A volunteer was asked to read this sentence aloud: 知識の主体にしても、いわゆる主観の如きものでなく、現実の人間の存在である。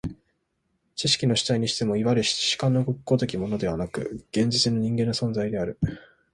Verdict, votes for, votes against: accepted, 2, 0